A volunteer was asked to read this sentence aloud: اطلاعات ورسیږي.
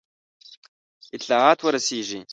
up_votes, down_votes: 1, 2